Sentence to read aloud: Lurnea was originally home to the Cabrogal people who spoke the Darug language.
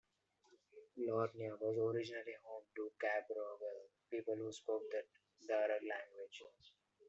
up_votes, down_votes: 2, 0